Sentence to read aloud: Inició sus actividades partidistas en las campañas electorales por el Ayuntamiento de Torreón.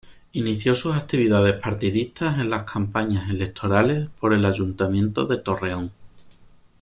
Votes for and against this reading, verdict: 2, 0, accepted